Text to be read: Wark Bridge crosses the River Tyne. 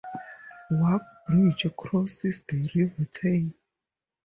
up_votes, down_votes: 2, 0